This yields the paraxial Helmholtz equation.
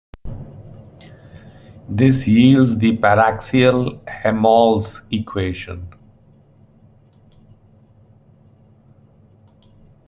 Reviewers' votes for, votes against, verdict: 0, 2, rejected